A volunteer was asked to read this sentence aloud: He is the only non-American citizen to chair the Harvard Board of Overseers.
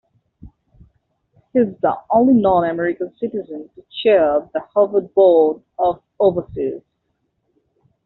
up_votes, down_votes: 0, 2